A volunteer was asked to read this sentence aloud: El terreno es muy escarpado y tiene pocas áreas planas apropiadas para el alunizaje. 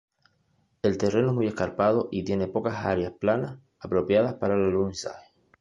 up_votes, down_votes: 1, 2